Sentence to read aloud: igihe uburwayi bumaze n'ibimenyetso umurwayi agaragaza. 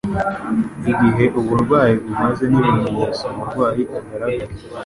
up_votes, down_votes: 1, 2